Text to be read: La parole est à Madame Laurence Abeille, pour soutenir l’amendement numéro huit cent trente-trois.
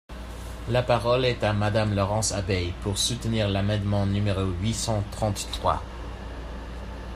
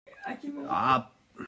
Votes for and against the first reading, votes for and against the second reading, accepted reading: 2, 0, 0, 2, first